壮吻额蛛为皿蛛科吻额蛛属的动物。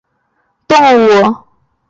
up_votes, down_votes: 1, 2